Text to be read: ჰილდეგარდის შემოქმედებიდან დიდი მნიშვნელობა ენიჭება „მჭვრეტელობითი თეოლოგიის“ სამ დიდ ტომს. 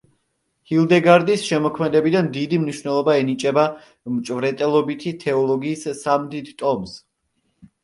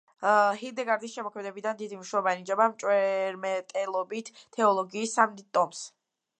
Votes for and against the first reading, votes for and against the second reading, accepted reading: 2, 0, 1, 2, first